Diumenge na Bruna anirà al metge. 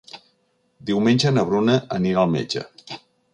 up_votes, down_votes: 3, 0